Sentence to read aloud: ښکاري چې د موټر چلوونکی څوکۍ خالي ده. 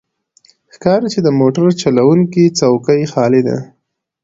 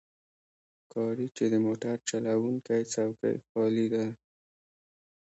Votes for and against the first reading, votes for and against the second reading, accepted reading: 2, 0, 1, 2, first